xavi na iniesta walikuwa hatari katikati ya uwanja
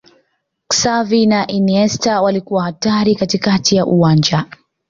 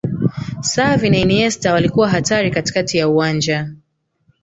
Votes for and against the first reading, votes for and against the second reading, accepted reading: 2, 1, 1, 2, first